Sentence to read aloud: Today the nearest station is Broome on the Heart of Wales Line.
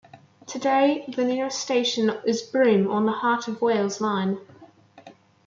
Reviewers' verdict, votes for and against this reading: accepted, 2, 0